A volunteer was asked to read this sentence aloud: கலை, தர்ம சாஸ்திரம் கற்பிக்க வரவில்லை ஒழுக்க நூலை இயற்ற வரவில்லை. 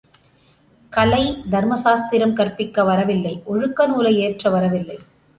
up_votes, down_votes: 3, 0